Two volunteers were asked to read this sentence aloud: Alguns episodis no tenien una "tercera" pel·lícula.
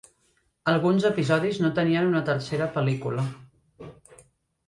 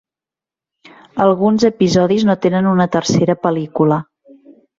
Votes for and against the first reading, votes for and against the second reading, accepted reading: 4, 0, 1, 2, first